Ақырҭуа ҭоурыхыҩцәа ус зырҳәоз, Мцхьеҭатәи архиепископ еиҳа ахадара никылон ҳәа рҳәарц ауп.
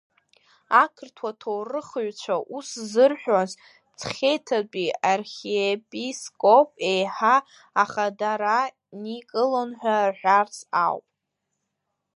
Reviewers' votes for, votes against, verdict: 1, 2, rejected